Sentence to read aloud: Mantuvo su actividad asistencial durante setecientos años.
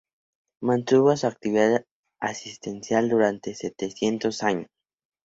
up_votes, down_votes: 2, 0